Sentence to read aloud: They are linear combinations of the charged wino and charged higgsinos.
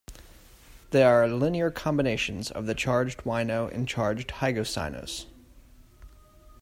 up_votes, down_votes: 1, 2